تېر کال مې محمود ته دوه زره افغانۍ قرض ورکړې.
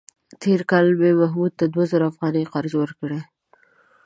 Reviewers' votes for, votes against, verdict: 2, 0, accepted